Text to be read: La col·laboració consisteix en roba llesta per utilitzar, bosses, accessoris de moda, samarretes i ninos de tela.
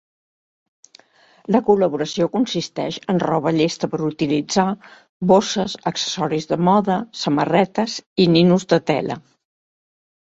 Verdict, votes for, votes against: accepted, 2, 0